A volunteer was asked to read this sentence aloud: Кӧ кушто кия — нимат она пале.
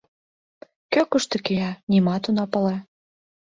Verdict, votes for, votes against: accepted, 2, 0